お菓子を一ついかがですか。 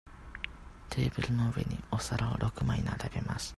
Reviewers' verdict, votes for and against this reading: rejected, 0, 2